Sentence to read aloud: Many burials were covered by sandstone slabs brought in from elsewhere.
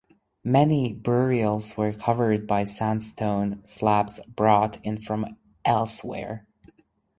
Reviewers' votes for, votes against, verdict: 4, 0, accepted